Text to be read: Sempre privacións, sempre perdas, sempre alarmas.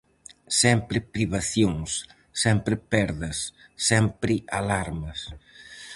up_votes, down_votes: 4, 0